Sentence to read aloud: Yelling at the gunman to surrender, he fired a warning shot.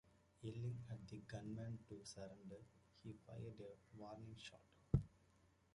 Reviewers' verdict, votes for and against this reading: rejected, 0, 2